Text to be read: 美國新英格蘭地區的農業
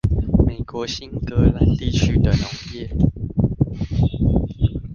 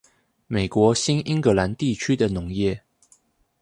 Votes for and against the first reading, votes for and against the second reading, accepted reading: 1, 2, 2, 0, second